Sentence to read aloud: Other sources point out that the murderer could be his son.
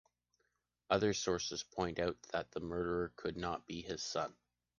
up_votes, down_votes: 1, 2